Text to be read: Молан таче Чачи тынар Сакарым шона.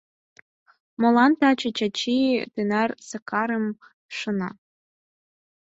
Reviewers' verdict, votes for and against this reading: rejected, 2, 10